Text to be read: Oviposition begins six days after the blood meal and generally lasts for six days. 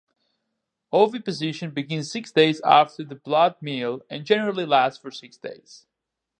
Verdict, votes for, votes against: accepted, 4, 0